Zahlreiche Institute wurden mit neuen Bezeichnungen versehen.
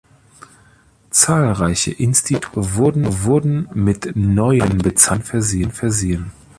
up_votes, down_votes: 0, 2